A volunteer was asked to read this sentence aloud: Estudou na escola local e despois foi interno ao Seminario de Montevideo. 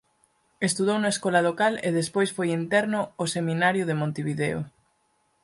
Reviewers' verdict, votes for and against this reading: accepted, 4, 0